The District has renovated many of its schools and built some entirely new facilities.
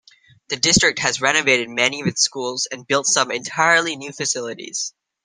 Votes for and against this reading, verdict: 2, 0, accepted